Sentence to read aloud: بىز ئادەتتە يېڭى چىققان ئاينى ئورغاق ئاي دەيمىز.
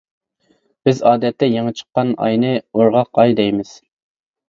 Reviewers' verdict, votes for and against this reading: accepted, 2, 0